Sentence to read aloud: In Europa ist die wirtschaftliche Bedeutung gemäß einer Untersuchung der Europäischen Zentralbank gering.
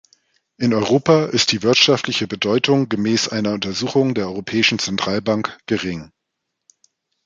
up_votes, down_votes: 2, 0